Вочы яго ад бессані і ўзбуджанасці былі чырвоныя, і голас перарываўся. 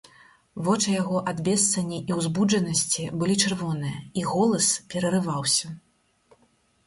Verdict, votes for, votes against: accepted, 4, 0